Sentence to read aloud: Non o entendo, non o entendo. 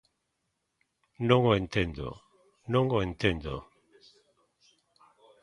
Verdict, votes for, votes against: accepted, 2, 1